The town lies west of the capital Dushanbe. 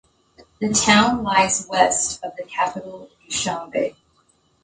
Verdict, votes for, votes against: accepted, 2, 0